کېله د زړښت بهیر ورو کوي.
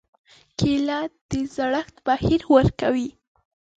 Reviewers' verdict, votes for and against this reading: rejected, 1, 2